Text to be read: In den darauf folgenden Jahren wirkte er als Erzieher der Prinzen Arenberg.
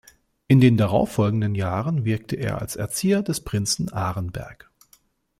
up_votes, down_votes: 0, 2